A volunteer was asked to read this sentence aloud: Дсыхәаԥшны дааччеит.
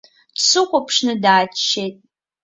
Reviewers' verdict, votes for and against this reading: accepted, 2, 0